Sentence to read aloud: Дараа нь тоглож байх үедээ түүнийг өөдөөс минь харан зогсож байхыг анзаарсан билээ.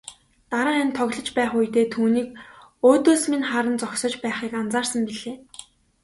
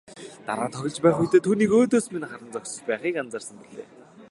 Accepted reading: first